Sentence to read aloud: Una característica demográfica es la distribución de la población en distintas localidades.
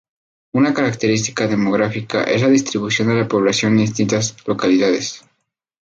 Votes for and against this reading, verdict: 2, 0, accepted